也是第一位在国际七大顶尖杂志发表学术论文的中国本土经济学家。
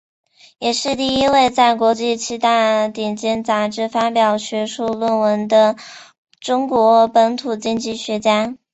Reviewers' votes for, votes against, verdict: 0, 2, rejected